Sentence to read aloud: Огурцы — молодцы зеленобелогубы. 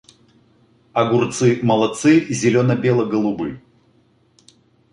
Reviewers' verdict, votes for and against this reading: accepted, 2, 1